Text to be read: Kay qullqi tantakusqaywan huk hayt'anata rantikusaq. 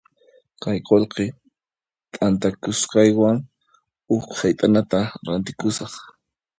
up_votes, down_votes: 1, 2